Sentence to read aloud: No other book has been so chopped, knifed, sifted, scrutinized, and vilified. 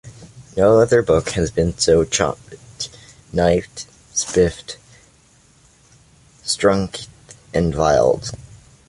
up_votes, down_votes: 0, 2